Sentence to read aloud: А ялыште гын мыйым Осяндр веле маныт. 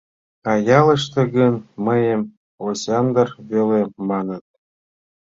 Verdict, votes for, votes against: accepted, 2, 0